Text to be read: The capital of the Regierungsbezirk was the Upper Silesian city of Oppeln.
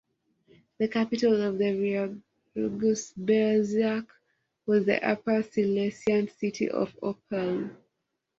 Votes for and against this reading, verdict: 0, 2, rejected